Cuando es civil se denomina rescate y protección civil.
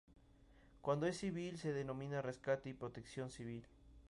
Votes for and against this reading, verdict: 2, 0, accepted